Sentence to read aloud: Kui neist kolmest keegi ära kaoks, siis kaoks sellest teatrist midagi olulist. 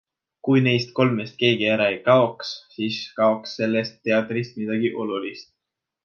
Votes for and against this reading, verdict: 0, 2, rejected